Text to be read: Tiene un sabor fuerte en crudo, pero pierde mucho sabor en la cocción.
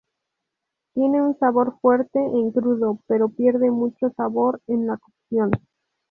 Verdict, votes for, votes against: rejected, 0, 2